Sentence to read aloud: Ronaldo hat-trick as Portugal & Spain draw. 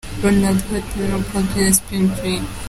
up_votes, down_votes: 0, 2